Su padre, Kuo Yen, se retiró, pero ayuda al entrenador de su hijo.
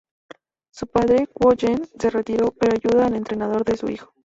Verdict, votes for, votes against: accepted, 2, 0